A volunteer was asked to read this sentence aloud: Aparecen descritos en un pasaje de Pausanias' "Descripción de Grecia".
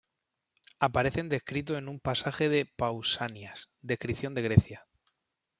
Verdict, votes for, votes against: accepted, 2, 0